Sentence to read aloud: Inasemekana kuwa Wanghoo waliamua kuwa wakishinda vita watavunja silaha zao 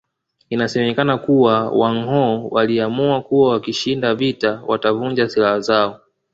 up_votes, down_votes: 0, 2